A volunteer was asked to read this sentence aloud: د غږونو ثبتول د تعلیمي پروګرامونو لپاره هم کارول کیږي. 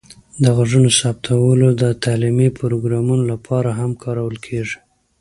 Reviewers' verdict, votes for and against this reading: accepted, 2, 0